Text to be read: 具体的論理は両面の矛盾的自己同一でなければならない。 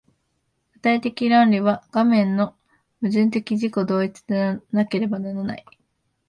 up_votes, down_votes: 2, 3